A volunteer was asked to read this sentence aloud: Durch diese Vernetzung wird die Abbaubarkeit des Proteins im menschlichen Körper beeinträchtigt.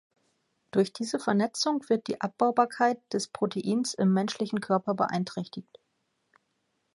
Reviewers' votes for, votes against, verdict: 3, 0, accepted